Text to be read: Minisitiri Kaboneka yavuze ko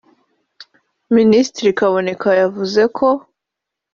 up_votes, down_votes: 2, 0